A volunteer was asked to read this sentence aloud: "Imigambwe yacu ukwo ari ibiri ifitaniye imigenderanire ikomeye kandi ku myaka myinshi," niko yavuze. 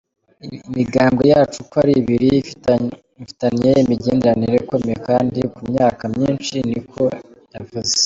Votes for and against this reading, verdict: 1, 2, rejected